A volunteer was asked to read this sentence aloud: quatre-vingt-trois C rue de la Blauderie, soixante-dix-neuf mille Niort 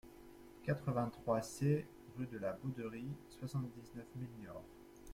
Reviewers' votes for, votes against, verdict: 0, 2, rejected